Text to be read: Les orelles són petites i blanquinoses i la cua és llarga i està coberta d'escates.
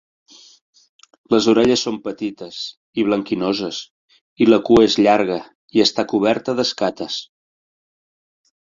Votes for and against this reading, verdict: 4, 1, accepted